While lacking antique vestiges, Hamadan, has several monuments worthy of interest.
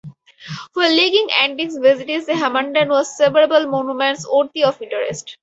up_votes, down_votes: 2, 2